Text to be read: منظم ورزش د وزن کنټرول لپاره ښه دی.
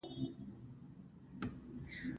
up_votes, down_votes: 1, 2